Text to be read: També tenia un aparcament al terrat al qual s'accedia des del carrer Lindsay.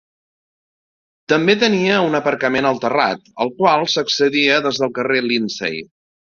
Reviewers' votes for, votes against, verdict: 2, 0, accepted